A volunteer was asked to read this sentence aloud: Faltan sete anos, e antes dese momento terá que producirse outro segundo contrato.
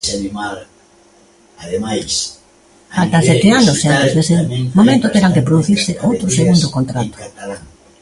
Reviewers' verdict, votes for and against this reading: rejected, 0, 2